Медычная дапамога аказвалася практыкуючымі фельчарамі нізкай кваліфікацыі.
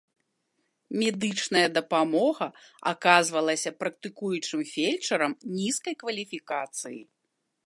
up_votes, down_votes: 0, 2